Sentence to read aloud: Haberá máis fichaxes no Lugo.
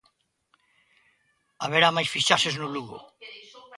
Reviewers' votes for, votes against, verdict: 1, 2, rejected